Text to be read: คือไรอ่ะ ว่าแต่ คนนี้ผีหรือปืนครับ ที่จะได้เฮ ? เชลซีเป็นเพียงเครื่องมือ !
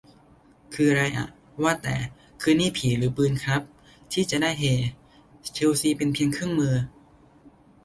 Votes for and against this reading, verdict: 1, 2, rejected